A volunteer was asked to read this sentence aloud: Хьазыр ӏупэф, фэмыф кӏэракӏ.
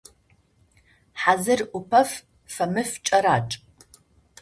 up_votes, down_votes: 2, 0